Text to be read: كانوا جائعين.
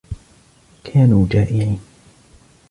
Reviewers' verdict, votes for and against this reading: accepted, 2, 0